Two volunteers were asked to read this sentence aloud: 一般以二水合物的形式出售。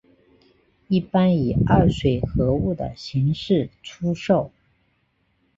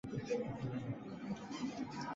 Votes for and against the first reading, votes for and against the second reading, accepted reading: 3, 0, 0, 3, first